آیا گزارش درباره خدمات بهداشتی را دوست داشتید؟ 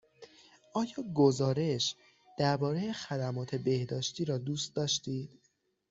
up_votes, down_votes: 6, 0